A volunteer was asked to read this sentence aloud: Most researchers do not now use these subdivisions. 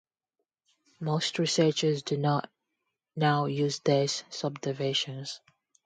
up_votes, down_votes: 0, 2